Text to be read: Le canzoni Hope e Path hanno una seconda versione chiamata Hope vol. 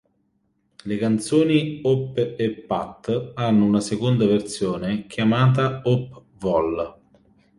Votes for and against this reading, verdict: 2, 0, accepted